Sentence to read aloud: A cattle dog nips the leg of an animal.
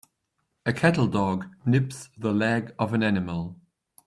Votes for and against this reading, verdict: 2, 0, accepted